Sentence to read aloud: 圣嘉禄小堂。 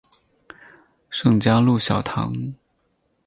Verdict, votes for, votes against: accepted, 4, 0